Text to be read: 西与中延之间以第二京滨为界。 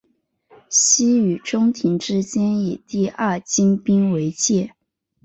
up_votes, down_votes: 2, 0